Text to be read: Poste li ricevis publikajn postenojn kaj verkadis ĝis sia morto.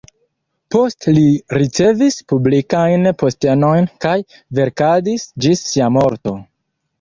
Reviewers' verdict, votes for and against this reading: accepted, 2, 0